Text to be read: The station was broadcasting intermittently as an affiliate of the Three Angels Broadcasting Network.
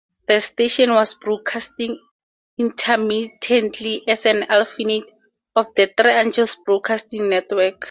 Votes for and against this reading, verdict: 0, 4, rejected